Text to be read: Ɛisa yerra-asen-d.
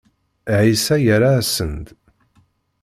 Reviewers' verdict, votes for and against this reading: accepted, 2, 1